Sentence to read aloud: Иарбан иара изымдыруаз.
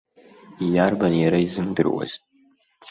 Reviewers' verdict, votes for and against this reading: rejected, 0, 2